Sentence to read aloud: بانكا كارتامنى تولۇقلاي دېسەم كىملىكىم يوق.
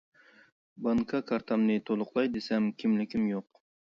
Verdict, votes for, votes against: accepted, 2, 0